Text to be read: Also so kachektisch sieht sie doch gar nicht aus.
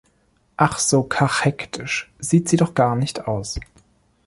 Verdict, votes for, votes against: rejected, 0, 2